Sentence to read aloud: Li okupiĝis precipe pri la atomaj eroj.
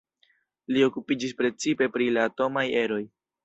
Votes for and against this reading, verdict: 2, 0, accepted